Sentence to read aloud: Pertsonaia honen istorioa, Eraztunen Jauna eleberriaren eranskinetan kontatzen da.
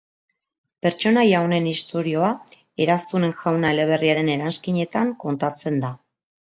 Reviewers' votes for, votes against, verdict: 2, 0, accepted